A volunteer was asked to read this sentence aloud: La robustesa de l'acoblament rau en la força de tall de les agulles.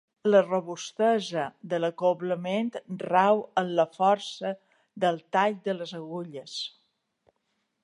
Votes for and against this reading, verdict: 0, 2, rejected